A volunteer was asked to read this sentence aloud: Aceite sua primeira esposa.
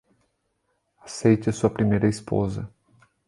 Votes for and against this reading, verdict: 2, 0, accepted